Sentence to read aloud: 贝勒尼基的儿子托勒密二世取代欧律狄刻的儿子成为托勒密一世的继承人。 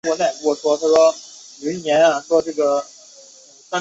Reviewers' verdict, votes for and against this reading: rejected, 0, 3